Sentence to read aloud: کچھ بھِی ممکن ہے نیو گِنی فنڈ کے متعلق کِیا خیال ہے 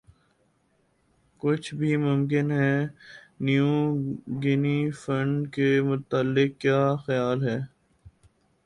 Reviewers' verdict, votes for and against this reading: accepted, 6, 2